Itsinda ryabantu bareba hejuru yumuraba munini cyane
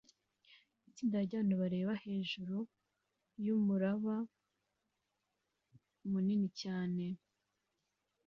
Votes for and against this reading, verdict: 2, 0, accepted